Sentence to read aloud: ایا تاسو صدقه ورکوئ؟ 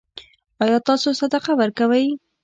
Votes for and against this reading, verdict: 2, 0, accepted